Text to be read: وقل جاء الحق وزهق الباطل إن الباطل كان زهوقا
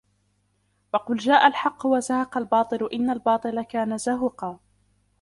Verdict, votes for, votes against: rejected, 1, 2